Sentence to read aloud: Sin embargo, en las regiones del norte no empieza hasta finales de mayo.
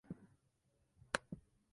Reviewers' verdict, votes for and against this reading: rejected, 0, 2